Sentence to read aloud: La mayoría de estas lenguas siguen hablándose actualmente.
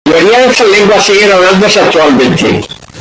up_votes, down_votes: 0, 2